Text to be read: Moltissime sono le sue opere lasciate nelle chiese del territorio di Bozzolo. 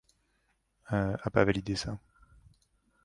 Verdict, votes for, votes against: rejected, 1, 2